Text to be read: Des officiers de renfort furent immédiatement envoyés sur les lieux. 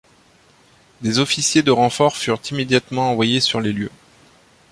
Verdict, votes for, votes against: accepted, 2, 0